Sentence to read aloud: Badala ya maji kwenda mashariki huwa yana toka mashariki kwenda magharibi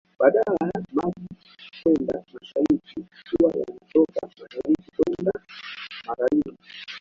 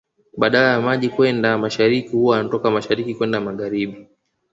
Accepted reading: second